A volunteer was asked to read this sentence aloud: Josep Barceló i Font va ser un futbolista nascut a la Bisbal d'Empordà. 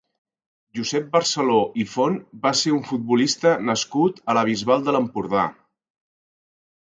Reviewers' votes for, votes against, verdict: 0, 3, rejected